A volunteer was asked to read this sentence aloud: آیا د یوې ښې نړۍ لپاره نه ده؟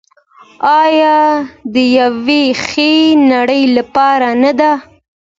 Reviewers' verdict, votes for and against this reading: accepted, 2, 0